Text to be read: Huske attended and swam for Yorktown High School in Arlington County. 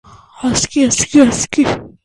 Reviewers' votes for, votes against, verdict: 0, 2, rejected